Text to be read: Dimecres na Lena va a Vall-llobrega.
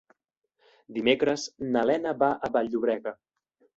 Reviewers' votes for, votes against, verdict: 2, 0, accepted